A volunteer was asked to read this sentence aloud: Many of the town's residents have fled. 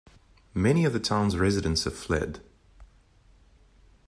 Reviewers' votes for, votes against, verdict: 2, 0, accepted